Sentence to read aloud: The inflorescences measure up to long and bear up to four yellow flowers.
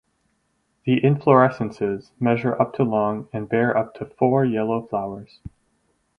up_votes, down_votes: 2, 2